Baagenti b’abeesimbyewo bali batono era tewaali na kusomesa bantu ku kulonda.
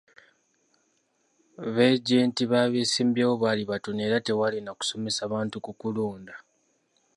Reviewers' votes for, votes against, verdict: 1, 2, rejected